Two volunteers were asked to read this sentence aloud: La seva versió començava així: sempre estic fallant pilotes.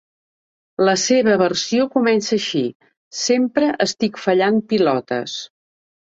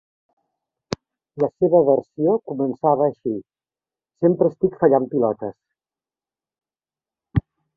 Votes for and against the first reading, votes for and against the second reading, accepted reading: 1, 2, 3, 1, second